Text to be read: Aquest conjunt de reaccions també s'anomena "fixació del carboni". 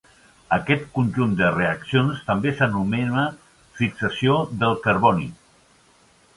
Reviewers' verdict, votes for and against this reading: accepted, 3, 0